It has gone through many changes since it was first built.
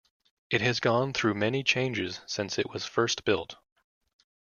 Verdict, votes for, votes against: accepted, 2, 0